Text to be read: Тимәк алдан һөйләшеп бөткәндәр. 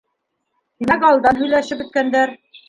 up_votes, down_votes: 1, 2